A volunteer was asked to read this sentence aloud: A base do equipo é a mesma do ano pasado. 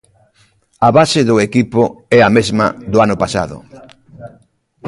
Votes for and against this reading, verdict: 1, 2, rejected